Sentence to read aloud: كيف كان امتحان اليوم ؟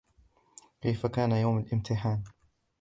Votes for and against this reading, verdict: 0, 2, rejected